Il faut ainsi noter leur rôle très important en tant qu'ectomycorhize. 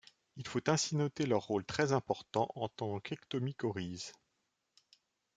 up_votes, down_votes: 2, 0